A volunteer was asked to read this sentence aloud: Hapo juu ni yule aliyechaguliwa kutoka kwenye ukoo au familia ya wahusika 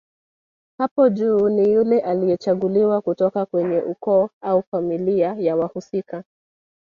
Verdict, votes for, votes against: rejected, 1, 2